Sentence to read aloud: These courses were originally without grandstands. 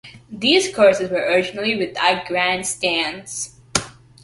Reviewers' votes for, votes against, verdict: 2, 1, accepted